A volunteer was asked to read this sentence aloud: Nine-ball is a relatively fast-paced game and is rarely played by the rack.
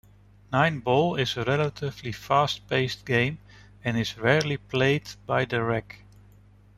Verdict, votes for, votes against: rejected, 1, 2